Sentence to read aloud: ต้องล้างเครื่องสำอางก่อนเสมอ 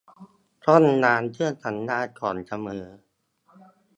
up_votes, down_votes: 1, 2